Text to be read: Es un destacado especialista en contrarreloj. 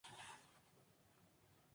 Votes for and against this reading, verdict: 0, 2, rejected